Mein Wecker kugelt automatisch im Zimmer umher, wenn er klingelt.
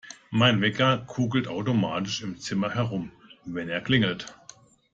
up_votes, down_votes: 0, 2